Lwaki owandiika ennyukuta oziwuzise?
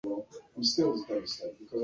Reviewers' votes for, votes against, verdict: 0, 2, rejected